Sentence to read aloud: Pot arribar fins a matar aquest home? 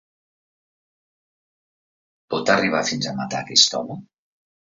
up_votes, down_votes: 2, 0